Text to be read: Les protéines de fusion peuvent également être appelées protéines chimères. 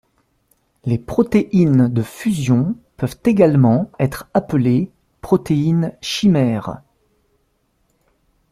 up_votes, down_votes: 2, 0